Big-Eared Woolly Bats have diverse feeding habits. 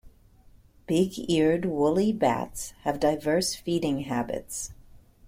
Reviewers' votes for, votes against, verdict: 2, 0, accepted